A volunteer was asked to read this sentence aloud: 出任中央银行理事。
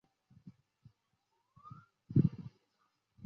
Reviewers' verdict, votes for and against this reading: accepted, 2, 0